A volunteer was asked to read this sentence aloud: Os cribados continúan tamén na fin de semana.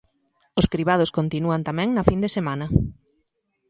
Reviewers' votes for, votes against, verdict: 2, 0, accepted